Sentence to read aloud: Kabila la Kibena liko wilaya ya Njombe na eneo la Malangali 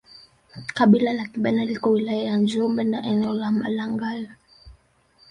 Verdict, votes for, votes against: rejected, 0, 2